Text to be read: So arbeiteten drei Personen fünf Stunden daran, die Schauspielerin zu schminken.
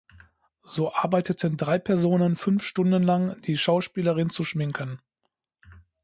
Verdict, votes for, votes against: rejected, 0, 2